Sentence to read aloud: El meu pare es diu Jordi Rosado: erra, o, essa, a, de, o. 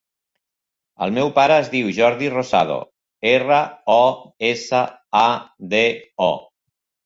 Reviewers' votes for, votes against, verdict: 3, 0, accepted